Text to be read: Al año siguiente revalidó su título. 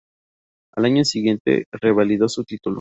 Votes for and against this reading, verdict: 2, 0, accepted